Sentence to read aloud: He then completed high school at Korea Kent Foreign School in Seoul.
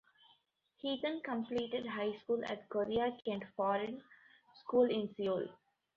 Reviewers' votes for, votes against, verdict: 2, 0, accepted